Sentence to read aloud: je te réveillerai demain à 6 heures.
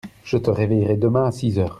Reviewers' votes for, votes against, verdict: 0, 2, rejected